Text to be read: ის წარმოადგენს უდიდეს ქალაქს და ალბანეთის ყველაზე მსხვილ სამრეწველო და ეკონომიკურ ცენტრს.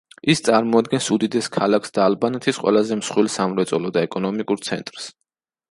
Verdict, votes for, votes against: accepted, 2, 0